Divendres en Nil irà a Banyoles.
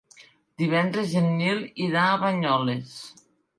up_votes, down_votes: 2, 0